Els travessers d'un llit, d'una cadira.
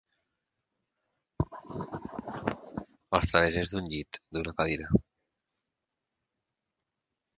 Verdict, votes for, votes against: accepted, 4, 0